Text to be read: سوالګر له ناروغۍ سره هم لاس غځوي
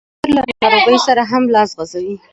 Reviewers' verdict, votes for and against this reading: rejected, 1, 2